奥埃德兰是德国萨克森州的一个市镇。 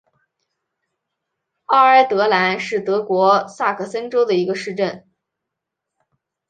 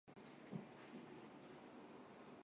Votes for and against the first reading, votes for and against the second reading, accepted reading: 4, 2, 0, 2, first